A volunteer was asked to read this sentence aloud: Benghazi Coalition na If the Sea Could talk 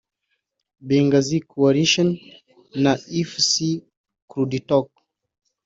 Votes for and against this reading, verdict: 1, 2, rejected